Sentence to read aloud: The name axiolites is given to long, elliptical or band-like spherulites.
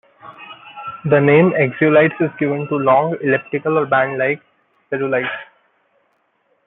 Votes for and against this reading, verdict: 1, 2, rejected